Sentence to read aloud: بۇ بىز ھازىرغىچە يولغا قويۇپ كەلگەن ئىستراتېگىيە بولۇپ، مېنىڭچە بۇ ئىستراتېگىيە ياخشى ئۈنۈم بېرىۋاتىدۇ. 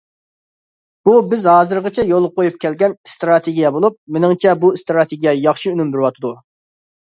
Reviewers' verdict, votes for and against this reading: accepted, 2, 0